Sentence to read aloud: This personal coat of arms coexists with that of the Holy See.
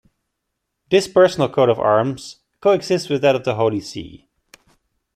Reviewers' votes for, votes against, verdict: 1, 2, rejected